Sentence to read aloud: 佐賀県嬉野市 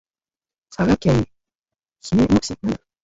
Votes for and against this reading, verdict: 0, 2, rejected